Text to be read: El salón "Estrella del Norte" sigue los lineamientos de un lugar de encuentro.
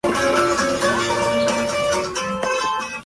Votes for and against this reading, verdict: 0, 2, rejected